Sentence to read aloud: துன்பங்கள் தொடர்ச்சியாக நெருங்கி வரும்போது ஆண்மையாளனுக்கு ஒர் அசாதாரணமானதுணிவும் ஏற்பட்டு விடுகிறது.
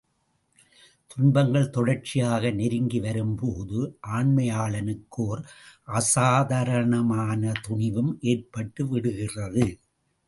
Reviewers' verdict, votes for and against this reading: accepted, 2, 0